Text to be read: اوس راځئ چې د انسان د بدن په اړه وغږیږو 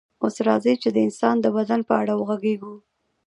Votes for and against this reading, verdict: 2, 0, accepted